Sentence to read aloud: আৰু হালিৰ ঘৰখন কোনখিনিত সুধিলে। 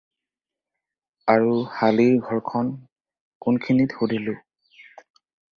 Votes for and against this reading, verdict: 0, 4, rejected